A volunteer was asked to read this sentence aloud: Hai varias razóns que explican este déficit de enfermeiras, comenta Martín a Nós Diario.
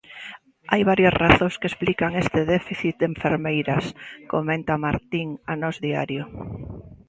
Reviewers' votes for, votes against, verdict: 2, 0, accepted